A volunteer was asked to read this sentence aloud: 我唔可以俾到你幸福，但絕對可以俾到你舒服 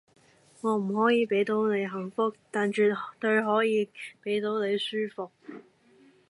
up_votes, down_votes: 0, 2